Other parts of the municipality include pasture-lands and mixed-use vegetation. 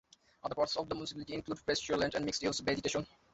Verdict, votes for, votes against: rejected, 0, 2